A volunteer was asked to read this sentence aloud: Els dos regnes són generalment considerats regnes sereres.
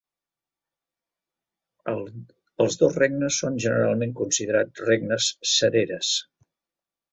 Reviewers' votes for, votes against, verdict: 0, 2, rejected